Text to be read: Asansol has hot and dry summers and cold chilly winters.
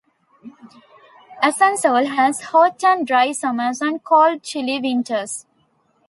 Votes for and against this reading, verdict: 2, 0, accepted